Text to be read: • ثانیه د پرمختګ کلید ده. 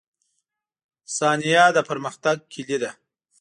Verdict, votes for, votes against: rejected, 0, 2